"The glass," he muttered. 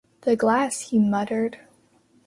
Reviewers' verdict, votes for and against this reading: accepted, 2, 0